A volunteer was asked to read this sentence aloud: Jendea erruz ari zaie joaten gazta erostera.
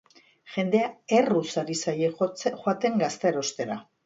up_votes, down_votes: 0, 2